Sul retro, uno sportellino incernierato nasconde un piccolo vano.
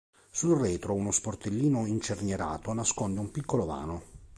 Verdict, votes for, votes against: accepted, 2, 0